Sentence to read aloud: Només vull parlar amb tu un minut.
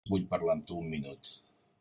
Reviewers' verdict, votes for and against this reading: rejected, 0, 3